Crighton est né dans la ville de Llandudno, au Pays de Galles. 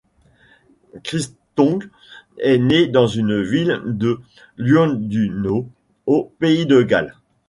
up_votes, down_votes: 0, 2